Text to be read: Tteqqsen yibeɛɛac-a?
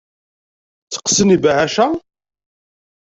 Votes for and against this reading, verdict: 2, 0, accepted